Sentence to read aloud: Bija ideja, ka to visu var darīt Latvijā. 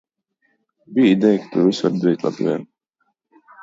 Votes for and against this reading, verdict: 1, 2, rejected